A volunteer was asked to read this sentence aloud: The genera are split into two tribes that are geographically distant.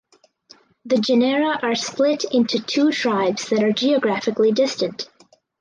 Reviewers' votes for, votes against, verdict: 2, 2, rejected